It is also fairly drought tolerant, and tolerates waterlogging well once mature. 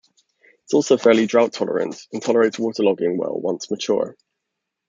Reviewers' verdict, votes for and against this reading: rejected, 1, 2